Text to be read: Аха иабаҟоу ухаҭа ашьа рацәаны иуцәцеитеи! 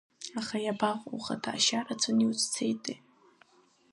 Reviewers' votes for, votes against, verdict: 3, 0, accepted